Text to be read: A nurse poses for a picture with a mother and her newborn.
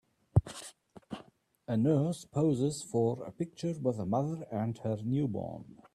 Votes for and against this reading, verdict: 2, 0, accepted